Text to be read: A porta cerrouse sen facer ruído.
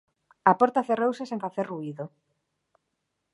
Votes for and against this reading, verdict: 1, 2, rejected